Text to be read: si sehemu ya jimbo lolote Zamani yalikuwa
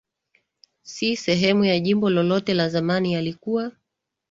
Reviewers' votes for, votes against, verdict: 3, 1, accepted